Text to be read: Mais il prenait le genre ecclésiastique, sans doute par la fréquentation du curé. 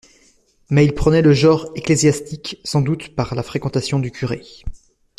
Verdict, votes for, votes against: accepted, 2, 0